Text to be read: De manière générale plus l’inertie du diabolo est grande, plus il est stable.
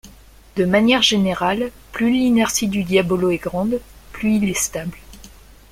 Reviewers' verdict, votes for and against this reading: accepted, 2, 0